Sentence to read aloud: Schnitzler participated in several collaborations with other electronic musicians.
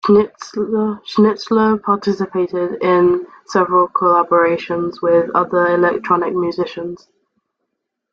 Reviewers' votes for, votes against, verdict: 0, 2, rejected